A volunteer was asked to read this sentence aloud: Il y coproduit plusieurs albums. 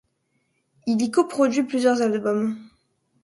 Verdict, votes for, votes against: accepted, 2, 0